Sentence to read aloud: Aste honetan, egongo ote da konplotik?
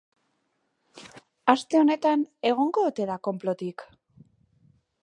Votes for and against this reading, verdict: 2, 0, accepted